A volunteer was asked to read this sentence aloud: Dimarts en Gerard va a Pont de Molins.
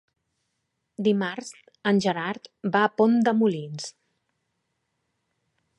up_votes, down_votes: 3, 0